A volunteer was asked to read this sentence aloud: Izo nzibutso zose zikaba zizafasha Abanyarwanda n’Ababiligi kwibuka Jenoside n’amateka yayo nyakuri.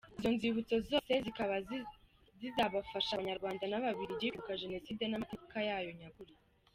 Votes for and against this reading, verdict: 0, 2, rejected